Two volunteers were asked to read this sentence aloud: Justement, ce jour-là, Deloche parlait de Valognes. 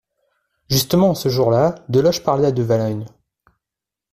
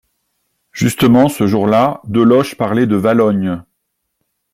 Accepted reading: second